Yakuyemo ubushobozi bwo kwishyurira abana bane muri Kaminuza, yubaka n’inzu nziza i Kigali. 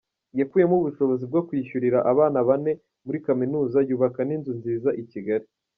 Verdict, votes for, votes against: accepted, 2, 0